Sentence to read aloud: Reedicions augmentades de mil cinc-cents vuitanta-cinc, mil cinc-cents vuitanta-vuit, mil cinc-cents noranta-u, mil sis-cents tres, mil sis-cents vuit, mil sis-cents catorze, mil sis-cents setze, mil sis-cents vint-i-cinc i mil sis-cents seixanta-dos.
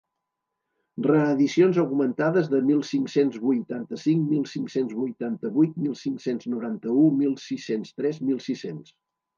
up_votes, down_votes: 0, 2